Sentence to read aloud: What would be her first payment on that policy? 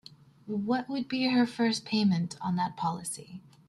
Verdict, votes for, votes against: accepted, 2, 0